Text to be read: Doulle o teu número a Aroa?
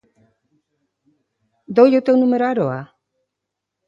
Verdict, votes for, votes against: accepted, 2, 0